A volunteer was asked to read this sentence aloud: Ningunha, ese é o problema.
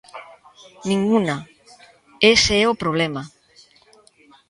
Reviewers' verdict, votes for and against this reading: rejected, 0, 2